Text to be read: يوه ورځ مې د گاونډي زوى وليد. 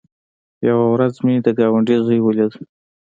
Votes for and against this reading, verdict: 3, 1, accepted